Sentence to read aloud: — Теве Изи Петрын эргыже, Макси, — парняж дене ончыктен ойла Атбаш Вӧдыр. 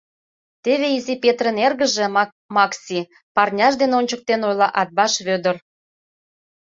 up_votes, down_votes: 2, 1